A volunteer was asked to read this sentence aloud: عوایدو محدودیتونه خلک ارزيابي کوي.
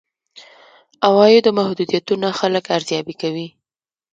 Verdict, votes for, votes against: accepted, 2, 1